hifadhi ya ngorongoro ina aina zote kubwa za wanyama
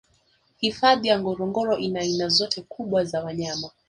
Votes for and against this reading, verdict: 1, 2, rejected